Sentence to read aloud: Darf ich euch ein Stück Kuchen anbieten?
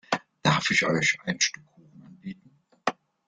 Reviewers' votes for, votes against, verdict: 1, 2, rejected